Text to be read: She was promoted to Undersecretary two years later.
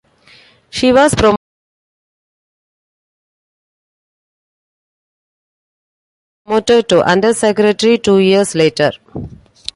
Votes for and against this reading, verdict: 0, 2, rejected